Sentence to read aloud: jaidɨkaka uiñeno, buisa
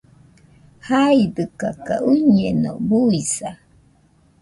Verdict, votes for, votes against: rejected, 0, 2